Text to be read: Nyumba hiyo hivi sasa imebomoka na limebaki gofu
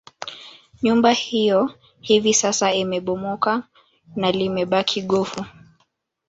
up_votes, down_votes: 1, 2